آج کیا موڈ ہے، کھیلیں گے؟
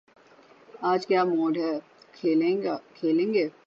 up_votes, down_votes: 6, 15